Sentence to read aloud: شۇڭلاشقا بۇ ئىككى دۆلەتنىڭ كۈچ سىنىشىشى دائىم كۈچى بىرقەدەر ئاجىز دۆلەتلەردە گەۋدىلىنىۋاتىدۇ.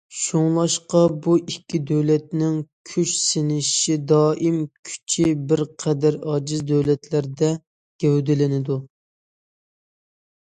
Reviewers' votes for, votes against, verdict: 0, 2, rejected